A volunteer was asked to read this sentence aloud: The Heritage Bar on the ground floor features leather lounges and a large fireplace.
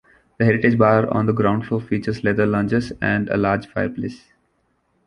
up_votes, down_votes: 2, 0